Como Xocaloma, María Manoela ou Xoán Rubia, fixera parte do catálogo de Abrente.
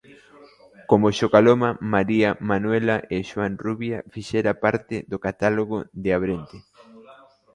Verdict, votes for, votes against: rejected, 1, 2